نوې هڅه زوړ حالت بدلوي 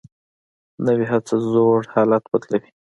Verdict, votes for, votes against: accepted, 2, 1